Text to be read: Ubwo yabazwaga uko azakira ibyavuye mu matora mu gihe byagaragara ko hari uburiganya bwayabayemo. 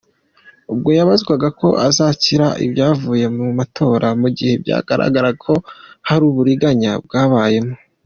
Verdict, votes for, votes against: accepted, 2, 0